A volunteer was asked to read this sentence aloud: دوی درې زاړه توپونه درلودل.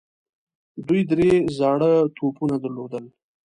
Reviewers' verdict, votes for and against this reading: accepted, 2, 0